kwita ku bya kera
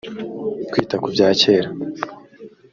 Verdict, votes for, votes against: accepted, 2, 0